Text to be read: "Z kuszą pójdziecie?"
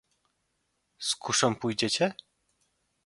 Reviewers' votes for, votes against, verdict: 2, 0, accepted